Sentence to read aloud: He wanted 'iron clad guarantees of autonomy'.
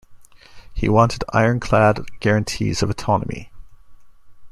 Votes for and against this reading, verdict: 2, 0, accepted